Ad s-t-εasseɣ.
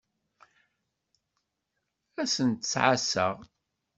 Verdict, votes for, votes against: rejected, 1, 2